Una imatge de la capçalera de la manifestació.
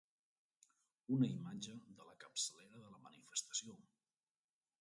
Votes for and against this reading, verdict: 0, 2, rejected